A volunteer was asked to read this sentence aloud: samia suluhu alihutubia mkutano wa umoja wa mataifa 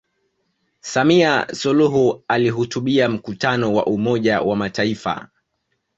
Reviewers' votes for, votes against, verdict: 2, 0, accepted